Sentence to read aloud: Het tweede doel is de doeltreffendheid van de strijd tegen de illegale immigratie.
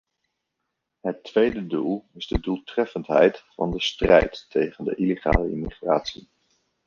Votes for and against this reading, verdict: 0, 2, rejected